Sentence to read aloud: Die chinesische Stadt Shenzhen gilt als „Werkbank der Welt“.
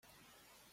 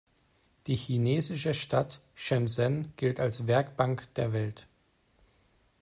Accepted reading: second